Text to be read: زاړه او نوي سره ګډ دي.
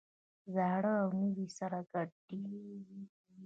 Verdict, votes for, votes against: rejected, 0, 2